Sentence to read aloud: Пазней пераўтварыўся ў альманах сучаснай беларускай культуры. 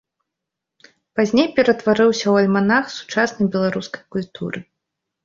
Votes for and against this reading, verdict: 1, 2, rejected